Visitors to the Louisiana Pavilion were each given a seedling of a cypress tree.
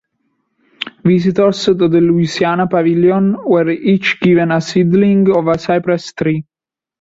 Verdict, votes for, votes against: accepted, 2, 0